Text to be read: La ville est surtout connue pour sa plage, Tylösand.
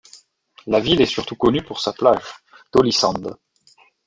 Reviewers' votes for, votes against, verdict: 2, 1, accepted